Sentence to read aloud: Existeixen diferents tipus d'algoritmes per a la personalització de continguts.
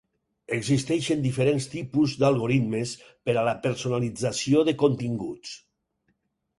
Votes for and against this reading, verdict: 4, 0, accepted